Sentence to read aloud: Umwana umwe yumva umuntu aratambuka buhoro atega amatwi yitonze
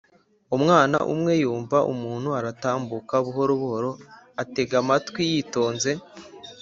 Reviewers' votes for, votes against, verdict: 2, 1, accepted